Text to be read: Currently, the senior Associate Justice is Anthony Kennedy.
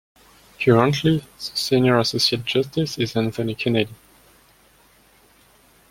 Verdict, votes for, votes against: rejected, 0, 2